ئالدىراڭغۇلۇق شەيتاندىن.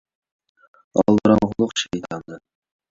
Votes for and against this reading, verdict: 2, 1, accepted